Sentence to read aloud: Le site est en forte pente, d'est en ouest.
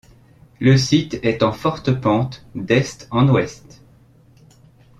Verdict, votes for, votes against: accepted, 2, 0